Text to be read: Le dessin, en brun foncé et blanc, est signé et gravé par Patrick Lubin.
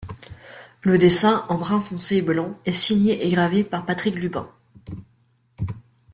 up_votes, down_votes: 1, 2